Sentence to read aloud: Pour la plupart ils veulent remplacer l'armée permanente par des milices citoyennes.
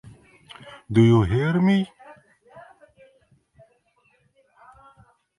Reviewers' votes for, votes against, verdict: 0, 2, rejected